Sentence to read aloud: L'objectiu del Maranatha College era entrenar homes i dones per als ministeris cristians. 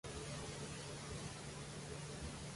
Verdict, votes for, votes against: rejected, 0, 2